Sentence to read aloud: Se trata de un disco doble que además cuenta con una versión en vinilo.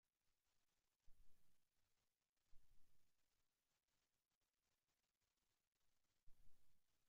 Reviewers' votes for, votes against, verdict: 0, 2, rejected